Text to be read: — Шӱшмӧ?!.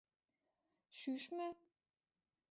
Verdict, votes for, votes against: accepted, 2, 0